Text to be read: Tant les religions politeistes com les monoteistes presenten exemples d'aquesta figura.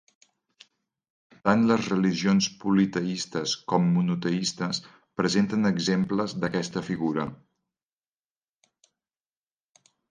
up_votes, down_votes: 1, 2